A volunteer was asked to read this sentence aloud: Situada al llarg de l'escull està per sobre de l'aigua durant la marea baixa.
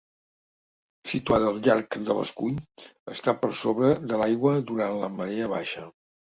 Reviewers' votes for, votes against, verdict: 2, 0, accepted